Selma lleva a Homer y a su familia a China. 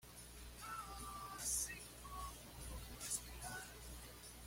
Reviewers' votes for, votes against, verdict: 1, 2, rejected